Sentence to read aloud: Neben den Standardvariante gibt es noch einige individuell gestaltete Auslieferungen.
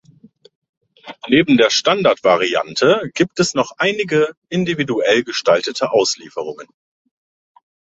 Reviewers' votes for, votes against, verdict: 1, 2, rejected